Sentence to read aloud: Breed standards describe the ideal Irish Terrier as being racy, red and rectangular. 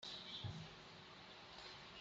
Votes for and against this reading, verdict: 0, 2, rejected